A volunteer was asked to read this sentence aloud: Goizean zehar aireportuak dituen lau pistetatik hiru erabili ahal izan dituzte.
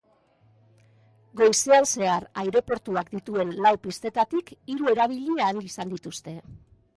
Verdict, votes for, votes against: accepted, 3, 0